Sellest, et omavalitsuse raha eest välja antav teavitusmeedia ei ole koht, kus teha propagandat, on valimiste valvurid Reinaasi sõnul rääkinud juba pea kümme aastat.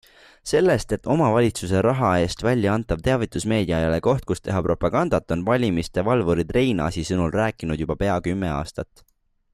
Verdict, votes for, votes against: accepted, 2, 0